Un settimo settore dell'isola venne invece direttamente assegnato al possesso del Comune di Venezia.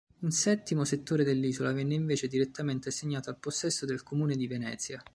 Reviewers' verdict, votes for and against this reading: accepted, 3, 0